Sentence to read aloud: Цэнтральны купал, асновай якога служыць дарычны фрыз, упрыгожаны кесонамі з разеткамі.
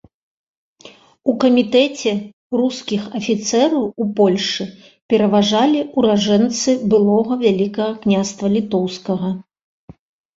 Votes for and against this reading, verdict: 0, 2, rejected